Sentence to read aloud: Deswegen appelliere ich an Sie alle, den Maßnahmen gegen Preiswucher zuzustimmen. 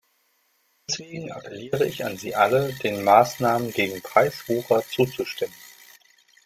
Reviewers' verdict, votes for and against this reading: rejected, 0, 2